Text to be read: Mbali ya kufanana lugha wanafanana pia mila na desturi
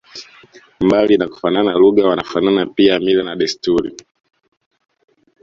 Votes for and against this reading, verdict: 2, 1, accepted